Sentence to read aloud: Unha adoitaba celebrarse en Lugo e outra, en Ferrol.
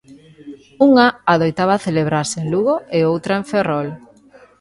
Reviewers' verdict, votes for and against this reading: rejected, 1, 2